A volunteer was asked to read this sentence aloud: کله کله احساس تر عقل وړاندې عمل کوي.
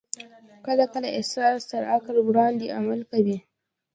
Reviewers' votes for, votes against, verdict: 2, 1, accepted